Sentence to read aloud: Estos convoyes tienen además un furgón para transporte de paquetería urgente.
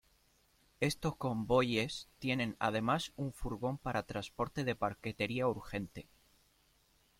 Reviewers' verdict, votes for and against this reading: rejected, 1, 2